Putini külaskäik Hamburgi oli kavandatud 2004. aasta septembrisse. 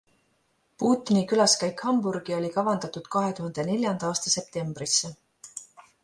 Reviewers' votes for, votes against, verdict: 0, 2, rejected